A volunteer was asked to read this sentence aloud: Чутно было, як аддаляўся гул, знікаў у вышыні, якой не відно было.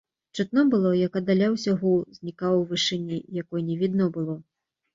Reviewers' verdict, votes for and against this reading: accepted, 2, 0